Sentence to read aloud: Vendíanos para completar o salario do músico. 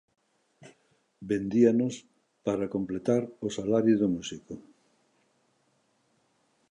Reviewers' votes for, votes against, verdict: 2, 0, accepted